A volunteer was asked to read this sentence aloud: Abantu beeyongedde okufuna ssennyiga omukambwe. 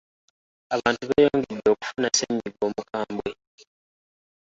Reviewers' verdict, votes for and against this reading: accepted, 2, 1